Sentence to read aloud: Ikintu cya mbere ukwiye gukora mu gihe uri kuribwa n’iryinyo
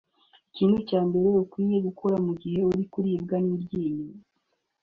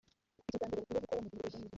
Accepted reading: first